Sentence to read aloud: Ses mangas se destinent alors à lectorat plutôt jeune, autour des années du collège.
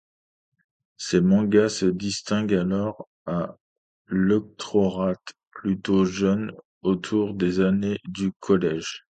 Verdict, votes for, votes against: rejected, 0, 2